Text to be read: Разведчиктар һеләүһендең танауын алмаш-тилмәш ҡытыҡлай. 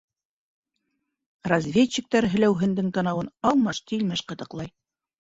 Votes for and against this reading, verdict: 2, 0, accepted